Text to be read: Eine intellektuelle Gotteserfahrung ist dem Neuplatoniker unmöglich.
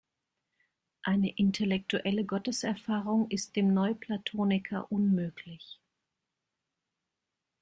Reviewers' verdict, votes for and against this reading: accepted, 2, 0